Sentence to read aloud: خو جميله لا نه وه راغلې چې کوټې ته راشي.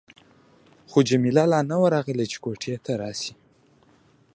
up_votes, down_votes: 2, 0